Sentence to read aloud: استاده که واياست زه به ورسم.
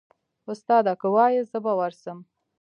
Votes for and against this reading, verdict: 2, 0, accepted